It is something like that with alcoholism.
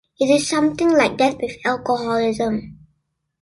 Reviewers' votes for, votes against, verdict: 2, 0, accepted